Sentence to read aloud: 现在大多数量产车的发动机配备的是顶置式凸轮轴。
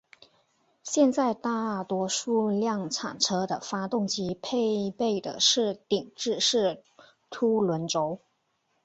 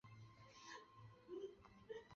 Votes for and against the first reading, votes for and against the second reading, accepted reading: 4, 0, 0, 2, first